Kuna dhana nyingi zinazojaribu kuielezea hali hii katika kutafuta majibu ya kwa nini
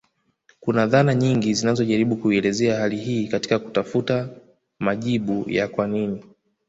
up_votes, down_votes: 2, 0